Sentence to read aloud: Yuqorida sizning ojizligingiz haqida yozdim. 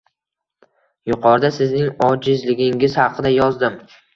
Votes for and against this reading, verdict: 2, 0, accepted